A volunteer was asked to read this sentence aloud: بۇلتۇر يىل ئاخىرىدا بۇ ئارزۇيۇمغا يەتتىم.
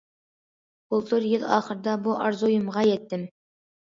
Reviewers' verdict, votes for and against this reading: accepted, 2, 0